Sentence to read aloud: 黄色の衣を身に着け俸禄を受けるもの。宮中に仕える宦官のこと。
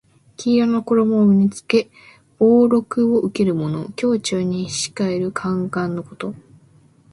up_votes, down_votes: 2, 0